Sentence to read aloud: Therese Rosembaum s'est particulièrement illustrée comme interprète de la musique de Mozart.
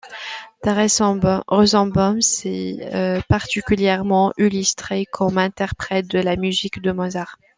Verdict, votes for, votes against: rejected, 0, 2